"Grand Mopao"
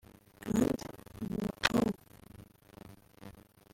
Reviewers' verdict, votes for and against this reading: rejected, 1, 2